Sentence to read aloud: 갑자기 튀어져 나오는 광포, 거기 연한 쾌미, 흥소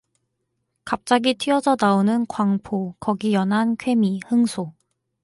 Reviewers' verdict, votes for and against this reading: accepted, 4, 0